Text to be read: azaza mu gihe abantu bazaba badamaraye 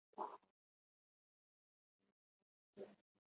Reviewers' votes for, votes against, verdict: 0, 3, rejected